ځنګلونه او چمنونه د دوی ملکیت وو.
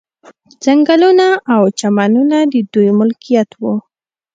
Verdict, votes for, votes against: accepted, 2, 0